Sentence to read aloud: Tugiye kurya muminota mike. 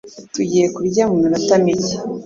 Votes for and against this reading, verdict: 2, 0, accepted